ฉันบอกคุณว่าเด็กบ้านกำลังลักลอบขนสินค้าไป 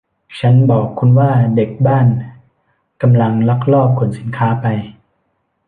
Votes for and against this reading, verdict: 0, 2, rejected